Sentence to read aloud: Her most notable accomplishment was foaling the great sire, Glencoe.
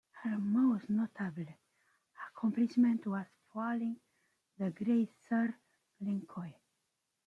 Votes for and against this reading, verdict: 0, 2, rejected